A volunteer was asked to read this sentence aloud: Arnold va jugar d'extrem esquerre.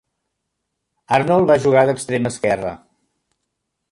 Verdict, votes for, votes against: accepted, 2, 0